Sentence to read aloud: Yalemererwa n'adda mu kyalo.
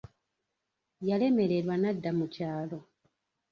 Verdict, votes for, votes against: rejected, 0, 2